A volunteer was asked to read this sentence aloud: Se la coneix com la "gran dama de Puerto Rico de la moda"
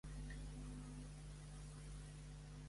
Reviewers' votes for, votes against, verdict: 0, 2, rejected